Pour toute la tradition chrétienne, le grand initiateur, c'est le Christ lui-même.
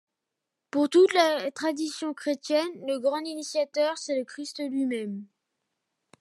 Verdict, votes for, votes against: rejected, 1, 2